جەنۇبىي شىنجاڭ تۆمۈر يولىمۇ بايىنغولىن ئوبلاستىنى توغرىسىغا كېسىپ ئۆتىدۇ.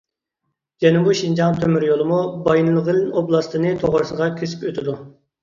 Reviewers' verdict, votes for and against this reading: rejected, 1, 2